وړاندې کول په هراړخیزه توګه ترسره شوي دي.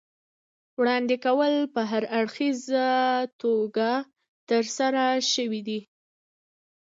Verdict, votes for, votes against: rejected, 1, 2